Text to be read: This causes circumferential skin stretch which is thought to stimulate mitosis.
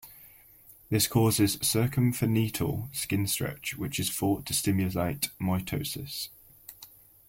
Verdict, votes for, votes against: rejected, 0, 2